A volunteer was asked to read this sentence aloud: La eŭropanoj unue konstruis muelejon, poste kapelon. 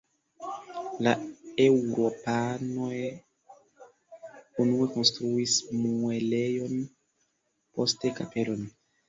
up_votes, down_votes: 1, 2